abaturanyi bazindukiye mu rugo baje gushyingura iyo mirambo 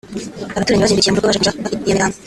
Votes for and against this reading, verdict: 1, 2, rejected